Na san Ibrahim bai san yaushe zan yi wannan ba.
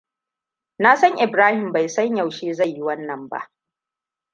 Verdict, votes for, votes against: accepted, 2, 0